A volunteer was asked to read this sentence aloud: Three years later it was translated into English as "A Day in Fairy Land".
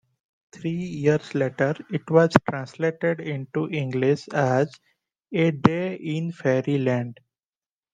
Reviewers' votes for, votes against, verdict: 1, 2, rejected